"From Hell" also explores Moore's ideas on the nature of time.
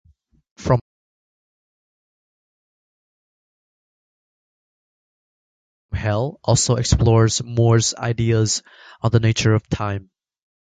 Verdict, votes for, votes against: rejected, 0, 2